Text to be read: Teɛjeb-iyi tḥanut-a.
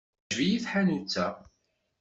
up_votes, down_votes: 0, 2